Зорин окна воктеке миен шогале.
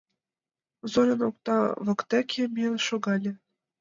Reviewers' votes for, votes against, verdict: 2, 0, accepted